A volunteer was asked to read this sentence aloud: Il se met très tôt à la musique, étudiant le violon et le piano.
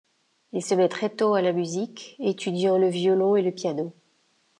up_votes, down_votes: 2, 0